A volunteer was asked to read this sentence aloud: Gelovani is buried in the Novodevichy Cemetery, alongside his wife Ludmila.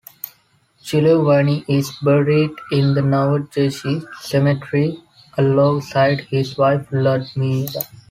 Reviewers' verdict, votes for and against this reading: rejected, 2, 3